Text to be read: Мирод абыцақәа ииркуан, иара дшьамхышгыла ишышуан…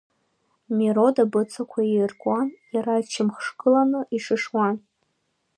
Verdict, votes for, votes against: rejected, 1, 2